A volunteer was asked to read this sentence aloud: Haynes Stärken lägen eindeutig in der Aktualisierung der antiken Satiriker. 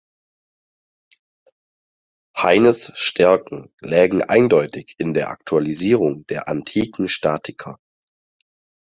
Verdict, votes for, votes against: rejected, 0, 4